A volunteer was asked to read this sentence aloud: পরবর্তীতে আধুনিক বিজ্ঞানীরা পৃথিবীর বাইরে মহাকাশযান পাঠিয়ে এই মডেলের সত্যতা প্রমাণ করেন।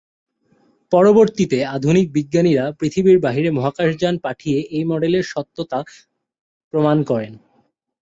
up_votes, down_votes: 2, 0